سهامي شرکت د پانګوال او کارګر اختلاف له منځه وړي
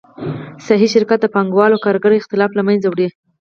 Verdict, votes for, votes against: accepted, 4, 2